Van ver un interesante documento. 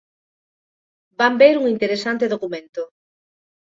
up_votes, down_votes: 2, 0